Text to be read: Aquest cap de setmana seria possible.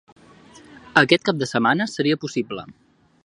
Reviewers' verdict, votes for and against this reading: accepted, 2, 0